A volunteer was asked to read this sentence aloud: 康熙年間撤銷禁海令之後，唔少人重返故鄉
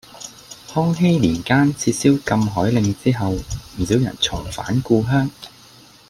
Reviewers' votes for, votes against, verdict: 2, 0, accepted